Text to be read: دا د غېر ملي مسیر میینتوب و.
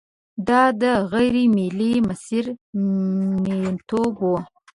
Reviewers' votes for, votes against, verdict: 0, 2, rejected